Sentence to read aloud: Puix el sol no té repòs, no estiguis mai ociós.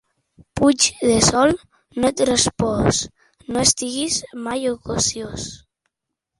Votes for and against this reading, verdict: 0, 2, rejected